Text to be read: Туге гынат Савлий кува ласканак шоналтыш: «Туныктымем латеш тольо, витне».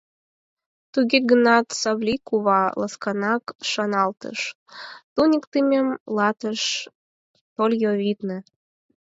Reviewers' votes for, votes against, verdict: 0, 4, rejected